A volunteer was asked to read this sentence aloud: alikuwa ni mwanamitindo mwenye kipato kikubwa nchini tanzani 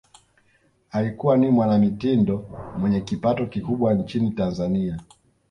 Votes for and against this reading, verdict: 2, 0, accepted